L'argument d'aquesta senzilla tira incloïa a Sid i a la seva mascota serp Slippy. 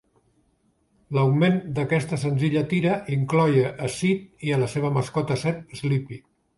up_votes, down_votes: 1, 3